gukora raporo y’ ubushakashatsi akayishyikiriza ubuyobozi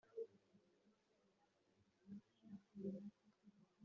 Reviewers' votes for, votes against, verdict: 1, 2, rejected